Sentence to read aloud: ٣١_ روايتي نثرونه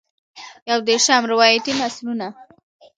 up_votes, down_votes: 0, 2